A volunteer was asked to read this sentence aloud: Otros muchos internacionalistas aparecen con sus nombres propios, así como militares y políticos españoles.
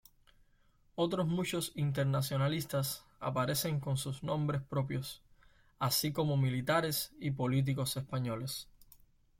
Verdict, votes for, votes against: accepted, 2, 0